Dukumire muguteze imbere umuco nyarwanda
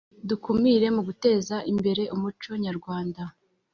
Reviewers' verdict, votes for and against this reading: accepted, 3, 0